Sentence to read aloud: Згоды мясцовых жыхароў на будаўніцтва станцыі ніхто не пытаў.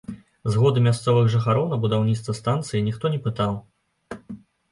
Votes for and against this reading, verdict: 2, 0, accepted